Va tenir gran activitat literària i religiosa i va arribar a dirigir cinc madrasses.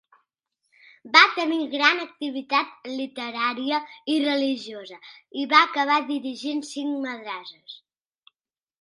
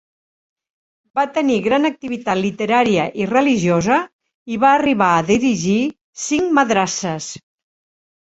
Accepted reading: second